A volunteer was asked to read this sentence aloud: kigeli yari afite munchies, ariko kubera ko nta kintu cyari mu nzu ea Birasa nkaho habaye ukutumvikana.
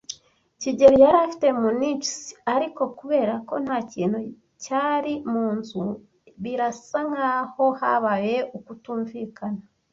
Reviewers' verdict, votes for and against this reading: rejected, 1, 2